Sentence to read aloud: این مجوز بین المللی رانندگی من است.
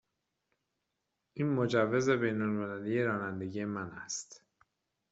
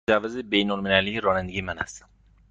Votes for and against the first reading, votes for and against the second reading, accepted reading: 2, 0, 1, 2, first